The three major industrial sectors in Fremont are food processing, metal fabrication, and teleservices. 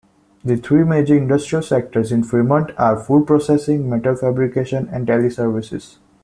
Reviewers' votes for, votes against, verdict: 2, 0, accepted